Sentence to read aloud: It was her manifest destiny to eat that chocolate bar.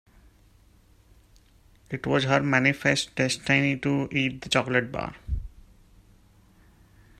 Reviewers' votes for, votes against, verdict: 1, 2, rejected